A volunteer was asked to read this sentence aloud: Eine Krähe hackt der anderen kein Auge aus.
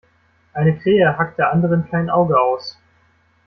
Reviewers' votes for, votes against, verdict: 2, 1, accepted